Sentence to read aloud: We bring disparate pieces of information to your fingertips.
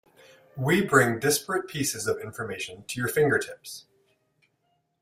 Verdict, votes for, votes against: accepted, 2, 0